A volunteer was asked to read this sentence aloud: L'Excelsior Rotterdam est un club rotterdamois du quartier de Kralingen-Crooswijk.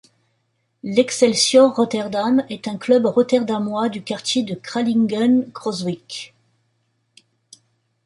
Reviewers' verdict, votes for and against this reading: accepted, 2, 0